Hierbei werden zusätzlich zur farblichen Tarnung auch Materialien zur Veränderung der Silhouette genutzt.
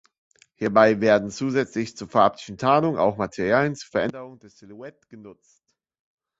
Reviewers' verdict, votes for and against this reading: rejected, 1, 2